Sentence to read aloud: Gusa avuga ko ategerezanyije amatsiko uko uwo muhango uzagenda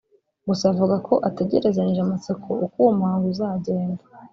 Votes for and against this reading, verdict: 1, 2, rejected